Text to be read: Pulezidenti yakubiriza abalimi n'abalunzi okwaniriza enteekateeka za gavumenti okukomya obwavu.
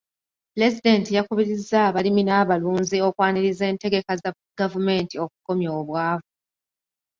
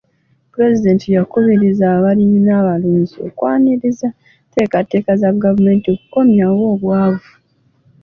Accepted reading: second